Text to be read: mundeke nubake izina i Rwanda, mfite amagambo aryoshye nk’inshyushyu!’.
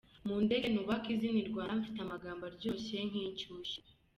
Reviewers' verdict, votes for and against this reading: accepted, 2, 0